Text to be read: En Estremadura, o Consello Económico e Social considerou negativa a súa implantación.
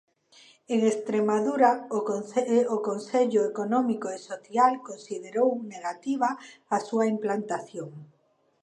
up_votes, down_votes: 0, 2